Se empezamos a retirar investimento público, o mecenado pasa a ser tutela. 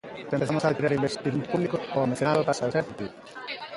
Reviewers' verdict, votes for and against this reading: rejected, 0, 2